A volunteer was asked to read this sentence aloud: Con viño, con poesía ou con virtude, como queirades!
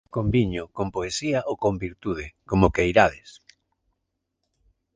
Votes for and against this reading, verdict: 2, 0, accepted